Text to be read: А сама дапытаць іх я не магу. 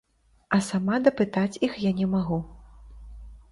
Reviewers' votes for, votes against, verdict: 2, 0, accepted